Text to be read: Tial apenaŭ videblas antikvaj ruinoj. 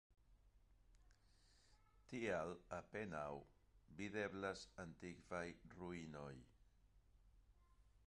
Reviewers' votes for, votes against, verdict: 0, 2, rejected